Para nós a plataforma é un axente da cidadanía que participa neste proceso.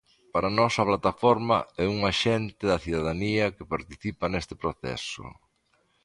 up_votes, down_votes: 2, 1